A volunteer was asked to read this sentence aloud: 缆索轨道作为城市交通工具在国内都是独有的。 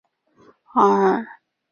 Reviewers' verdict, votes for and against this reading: rejected, 0, 2